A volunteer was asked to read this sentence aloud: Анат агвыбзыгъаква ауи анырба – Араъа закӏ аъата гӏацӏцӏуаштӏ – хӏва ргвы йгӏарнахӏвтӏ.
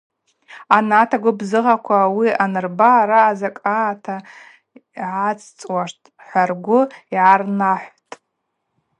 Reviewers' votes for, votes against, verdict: 2, 0, accepted